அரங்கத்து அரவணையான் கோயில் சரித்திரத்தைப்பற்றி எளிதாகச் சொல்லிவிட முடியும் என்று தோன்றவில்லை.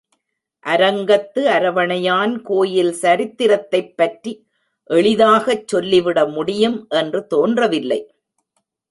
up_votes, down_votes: 2, 0